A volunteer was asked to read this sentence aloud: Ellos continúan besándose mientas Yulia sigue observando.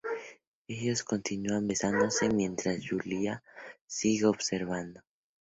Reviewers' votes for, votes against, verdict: 2, 0, accepted